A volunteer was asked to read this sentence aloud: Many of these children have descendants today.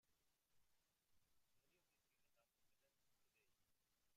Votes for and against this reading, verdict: 1, 2, rejected